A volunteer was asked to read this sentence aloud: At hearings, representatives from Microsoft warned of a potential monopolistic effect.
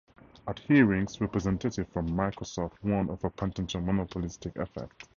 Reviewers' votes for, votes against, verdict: 2, 2, rejected